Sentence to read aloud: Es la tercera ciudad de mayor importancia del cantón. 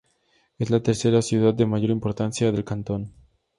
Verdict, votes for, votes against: accepted, 4, 0